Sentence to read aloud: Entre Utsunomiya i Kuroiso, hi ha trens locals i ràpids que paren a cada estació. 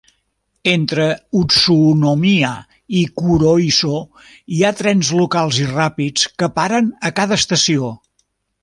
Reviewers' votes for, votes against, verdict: 0, 2, rejected